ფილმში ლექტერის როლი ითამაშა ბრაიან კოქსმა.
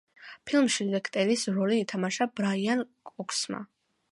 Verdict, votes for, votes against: accepted, 2, 0